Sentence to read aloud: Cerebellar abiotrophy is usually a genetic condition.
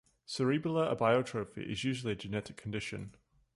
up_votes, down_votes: 2, 0